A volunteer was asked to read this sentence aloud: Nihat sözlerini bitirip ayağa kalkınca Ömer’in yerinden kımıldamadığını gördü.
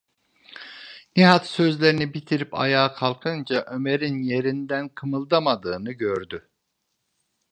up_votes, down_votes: 2, 0